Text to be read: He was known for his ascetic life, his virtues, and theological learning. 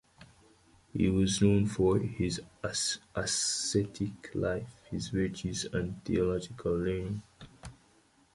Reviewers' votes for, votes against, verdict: 1, 2, rejected